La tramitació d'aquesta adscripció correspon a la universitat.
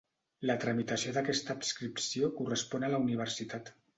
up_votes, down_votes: 2, 0